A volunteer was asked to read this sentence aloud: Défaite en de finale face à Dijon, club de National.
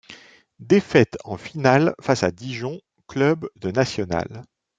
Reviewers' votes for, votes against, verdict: 0, 2, rejected